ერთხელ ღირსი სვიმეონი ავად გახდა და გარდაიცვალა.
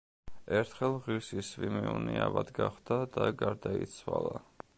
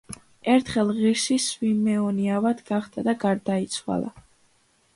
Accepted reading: second